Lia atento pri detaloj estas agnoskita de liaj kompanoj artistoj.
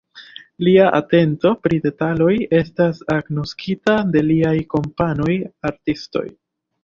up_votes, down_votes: 2, 0